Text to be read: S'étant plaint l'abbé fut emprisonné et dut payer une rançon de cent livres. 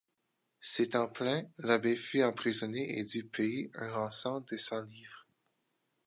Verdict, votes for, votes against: rejected, 0, 2